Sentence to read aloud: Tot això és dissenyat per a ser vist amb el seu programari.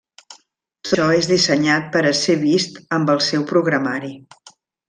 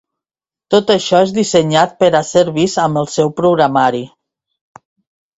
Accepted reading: second